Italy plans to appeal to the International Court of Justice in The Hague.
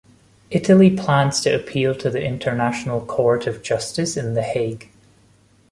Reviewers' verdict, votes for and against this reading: accepted, 2, 0